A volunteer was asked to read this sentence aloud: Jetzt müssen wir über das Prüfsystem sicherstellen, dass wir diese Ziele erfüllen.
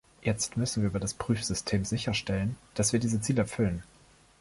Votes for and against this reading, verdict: 1, 2, rejected